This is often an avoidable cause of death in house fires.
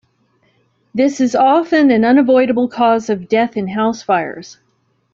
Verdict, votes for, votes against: rejected, 0, 2